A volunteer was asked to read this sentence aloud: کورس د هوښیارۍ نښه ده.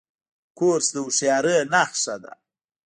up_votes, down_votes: 0, 2